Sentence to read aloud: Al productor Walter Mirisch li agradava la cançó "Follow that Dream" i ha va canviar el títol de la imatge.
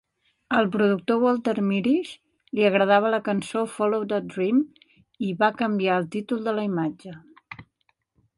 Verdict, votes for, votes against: rejected, 1, 2